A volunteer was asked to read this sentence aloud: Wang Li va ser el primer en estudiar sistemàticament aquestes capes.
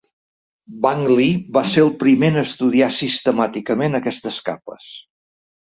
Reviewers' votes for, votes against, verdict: 2, 0, accepted